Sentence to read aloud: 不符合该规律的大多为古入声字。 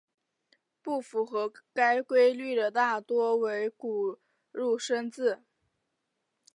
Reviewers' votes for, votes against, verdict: 2, 0, accepted